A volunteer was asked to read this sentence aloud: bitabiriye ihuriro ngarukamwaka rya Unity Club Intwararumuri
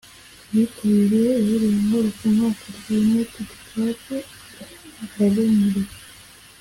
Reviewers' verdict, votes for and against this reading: rejected, 1, 2